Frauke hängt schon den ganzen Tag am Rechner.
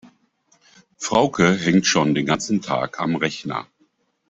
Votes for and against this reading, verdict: 2, 0, accepted